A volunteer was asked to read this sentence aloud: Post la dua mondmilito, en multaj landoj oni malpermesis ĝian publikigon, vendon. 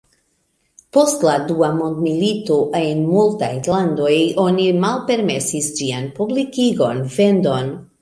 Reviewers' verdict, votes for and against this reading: rejected, 1, 2